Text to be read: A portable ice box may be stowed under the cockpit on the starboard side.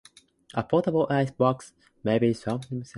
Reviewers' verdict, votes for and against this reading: rejected, 0, 2